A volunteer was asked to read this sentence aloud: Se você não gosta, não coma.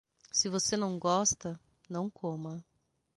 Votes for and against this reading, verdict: 6, 0, accepted